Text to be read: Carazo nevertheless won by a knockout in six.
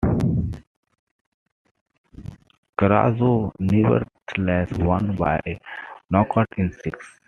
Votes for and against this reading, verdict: 2, 0, accepted